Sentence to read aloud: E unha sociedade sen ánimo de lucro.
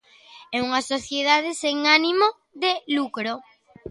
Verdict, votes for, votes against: accepted, 2, 0